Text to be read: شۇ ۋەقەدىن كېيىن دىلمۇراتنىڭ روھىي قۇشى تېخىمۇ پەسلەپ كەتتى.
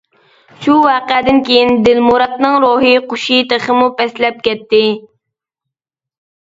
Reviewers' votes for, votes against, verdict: 2, 0, accepted